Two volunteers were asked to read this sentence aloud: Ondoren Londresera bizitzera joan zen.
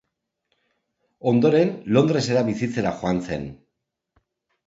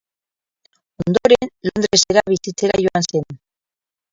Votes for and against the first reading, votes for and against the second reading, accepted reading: 2, 0, 2, 4, first